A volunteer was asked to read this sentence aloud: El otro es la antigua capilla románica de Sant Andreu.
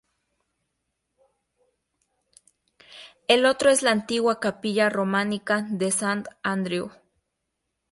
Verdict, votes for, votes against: accepted, 2, 0